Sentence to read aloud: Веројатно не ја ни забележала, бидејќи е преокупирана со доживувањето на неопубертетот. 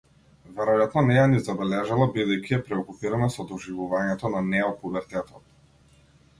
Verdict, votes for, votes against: accepted, 2, 0